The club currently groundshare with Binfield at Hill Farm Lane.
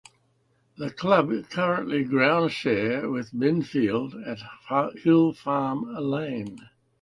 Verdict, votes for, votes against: rejected, 1, 2